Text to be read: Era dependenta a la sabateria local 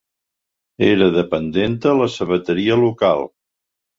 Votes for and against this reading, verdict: 2, 0, accepted